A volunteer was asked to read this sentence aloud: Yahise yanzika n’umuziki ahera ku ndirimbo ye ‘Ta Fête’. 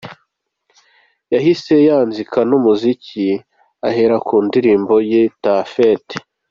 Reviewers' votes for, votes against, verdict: 2, 1, accepted